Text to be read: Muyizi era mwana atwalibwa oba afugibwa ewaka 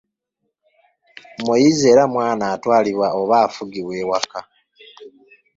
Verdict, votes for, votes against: accepted, 2, 0